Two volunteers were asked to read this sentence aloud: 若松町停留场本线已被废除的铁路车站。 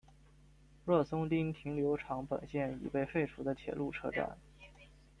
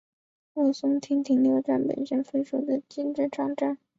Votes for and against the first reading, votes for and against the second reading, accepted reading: 2, 0, 0, 3, first